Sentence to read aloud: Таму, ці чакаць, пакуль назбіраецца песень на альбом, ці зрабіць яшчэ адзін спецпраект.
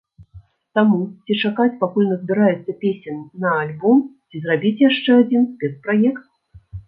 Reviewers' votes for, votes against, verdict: 2, 0, accepted